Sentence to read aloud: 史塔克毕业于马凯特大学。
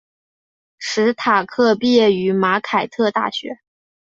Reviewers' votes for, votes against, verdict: 2, 0, accepted